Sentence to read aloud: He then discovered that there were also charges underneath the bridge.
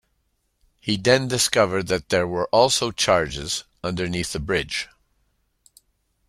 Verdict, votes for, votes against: accepted, 2, 0